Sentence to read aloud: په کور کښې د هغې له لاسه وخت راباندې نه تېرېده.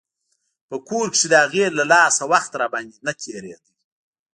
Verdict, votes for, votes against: rejected, 1, 2